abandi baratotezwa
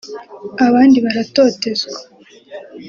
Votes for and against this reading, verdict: 2, 0, accepted